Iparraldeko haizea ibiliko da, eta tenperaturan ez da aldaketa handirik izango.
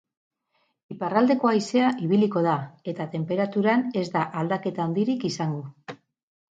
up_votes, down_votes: 2, 2